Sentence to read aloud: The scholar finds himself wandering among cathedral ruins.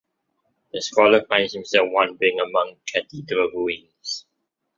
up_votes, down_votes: 2, 1